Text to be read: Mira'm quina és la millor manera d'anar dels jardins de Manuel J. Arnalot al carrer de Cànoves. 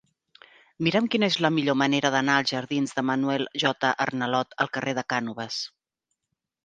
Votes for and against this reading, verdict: 0, 3, rejected